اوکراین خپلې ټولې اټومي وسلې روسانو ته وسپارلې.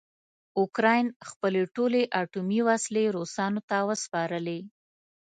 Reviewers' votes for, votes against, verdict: 2, 0, accepted